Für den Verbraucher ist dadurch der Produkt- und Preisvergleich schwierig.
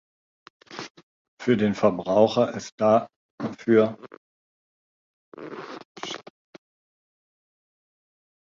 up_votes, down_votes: 0, 2